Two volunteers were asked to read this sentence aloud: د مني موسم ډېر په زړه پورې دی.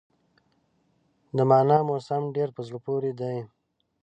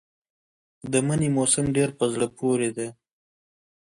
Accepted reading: second